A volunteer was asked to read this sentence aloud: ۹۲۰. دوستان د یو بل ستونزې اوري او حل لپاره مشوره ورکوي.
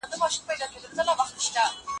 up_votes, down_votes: 0, 2